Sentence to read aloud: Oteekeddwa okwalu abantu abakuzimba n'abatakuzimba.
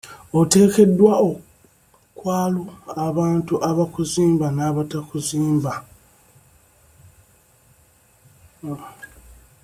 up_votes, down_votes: 1, 2